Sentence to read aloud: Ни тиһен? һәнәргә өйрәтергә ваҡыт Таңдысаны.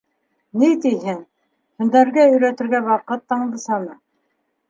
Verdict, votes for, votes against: accepted, 2, 0